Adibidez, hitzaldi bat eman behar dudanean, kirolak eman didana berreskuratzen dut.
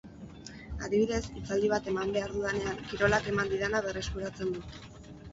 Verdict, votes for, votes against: rejected, 0, 2